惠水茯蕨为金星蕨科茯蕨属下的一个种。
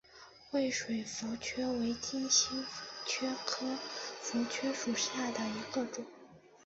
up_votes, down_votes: 3, 1